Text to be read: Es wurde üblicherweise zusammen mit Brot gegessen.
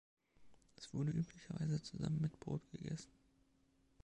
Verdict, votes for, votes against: accepted, 2, 0